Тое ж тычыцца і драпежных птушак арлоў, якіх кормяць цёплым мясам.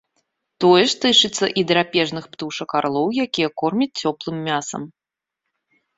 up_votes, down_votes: 0, 2